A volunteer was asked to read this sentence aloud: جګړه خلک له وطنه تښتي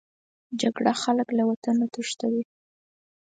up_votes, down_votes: 0, 4